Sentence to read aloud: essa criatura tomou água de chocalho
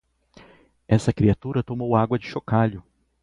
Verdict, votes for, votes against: accepted, 4, 0